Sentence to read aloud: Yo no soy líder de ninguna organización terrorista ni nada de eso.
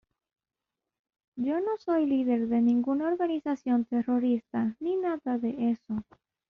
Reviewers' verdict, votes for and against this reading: accepted, 2, 0